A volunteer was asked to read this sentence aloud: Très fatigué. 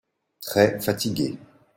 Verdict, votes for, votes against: accepted, 2, 0